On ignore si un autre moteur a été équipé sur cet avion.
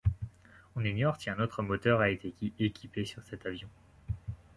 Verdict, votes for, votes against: rejected, 0, 2